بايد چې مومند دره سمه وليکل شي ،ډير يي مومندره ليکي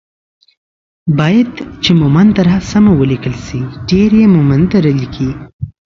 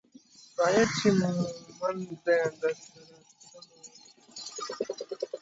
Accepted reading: first